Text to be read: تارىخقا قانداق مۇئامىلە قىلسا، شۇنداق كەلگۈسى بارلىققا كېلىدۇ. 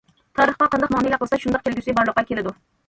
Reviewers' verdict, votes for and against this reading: rejected, 1, 2